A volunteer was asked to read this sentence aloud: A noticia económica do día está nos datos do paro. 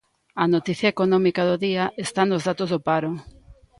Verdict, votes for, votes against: accepted, 3, 0